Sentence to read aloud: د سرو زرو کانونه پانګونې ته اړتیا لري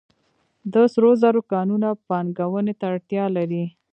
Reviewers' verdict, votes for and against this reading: rejected, 0, 3